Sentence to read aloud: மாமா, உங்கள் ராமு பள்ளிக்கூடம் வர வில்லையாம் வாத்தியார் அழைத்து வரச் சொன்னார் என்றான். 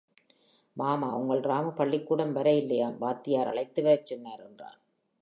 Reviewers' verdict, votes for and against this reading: accepted, 5, 1